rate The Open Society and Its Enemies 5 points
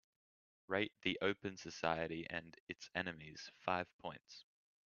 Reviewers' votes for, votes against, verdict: 0, 2, rejected